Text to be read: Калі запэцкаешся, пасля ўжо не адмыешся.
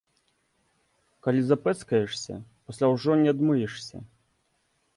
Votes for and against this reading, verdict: 3, 0, accepted